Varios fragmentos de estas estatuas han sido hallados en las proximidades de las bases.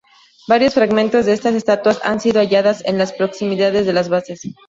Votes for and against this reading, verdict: 2, 0, accepted